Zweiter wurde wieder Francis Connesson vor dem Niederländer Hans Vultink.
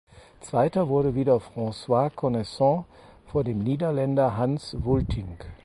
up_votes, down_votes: 0, 4